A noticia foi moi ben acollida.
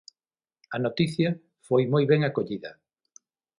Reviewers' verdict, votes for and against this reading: accepted, 6, 0